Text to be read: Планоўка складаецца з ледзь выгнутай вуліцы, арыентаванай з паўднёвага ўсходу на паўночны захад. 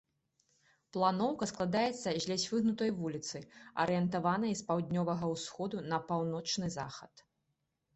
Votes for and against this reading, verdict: 2, 0, accepted